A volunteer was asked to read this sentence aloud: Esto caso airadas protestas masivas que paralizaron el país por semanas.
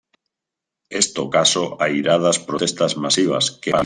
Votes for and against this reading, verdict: 1, 2, rejected